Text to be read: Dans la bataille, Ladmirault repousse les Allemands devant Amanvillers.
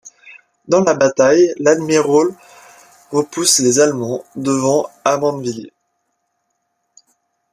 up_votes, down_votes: 1, 2